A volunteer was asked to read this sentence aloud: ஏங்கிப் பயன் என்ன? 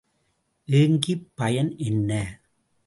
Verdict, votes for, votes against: rejected, 0, 2